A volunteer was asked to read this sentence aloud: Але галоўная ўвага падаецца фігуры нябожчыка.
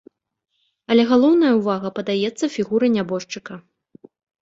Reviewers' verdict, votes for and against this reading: accepted, 2, 0